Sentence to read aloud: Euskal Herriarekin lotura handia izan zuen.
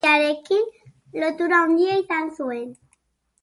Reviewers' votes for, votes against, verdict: 0, 2, rejected